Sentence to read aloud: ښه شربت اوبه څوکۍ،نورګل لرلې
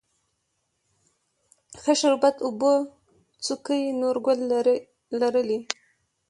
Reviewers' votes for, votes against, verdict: 1, 2, rejected